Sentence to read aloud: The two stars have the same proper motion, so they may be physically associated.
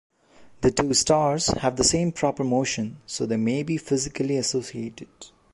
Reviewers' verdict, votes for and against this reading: accepted, 2, 0